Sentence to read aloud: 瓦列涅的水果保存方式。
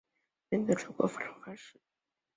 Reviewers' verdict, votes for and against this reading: rejected, 1, 3